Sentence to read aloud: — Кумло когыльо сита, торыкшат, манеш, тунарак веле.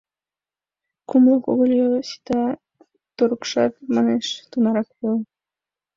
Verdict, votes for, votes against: rejected, 1, 3